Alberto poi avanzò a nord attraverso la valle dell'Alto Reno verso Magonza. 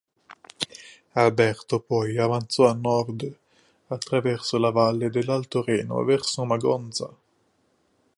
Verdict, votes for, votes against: accepted, 4, 0